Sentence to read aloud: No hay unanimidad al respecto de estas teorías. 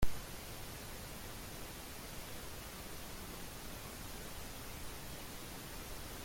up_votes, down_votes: 0, 2